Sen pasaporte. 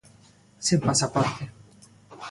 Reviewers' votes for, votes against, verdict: 2, 0, accepted